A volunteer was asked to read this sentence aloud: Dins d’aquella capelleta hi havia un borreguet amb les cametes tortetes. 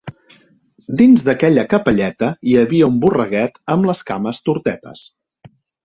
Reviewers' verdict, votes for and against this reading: rejected, 1, 2